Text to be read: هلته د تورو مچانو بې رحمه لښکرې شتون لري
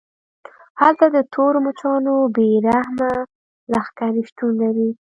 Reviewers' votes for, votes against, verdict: 0, 2, rejected